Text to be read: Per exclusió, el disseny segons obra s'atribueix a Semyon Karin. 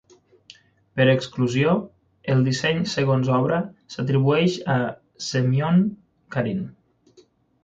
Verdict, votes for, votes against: accepted, 9, 0